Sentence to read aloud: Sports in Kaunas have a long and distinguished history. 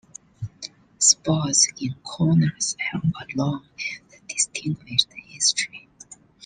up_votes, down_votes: 2, 1